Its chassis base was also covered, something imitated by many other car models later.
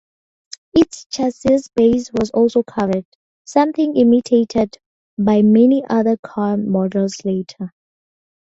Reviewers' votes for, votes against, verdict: 2, 0, accepted